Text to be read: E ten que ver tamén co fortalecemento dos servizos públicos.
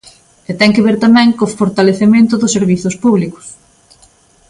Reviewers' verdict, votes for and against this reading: accepted, 2, 0